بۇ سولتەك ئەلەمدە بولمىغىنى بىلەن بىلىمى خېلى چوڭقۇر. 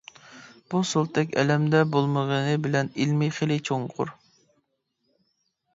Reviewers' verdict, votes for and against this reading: rejected, 0, 2